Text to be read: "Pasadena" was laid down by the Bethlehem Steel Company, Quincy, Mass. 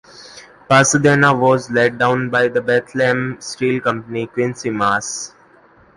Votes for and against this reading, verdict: 2, 0, accepted